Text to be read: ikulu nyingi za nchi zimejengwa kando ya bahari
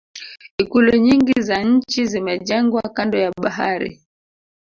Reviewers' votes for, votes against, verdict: 0, 2, rejected